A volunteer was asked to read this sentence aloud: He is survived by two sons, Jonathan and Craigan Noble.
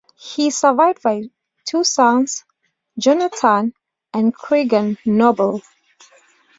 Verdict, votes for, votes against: accepted, 2, 0